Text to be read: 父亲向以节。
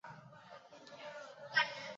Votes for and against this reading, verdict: 0, 3, rejected